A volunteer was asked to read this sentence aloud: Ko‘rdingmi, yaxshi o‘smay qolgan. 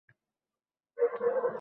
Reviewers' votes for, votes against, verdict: 0, 2, rejected